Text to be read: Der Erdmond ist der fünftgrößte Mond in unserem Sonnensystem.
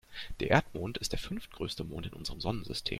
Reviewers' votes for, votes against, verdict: 2, 0, accepted